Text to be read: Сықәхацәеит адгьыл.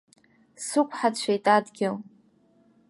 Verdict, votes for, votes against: rejected, 0, 2